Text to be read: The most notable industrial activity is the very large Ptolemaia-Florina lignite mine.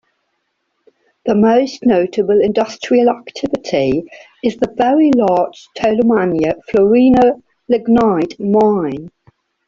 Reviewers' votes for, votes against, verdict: 4, 1, accepted